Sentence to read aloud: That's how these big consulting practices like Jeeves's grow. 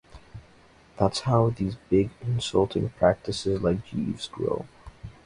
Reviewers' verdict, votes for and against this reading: accepted, 2, 0